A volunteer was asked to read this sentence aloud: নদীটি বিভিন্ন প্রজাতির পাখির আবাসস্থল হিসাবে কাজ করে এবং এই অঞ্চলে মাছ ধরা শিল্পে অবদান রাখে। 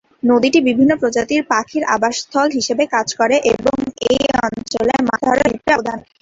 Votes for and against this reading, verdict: 0, 3, rejected